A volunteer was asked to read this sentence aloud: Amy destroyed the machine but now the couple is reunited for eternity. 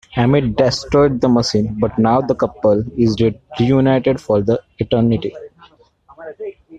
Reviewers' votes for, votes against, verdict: 0, 2, rejected